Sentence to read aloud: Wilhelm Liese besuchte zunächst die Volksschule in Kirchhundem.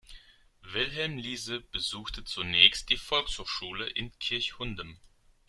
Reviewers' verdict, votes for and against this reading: rejected, 1, 2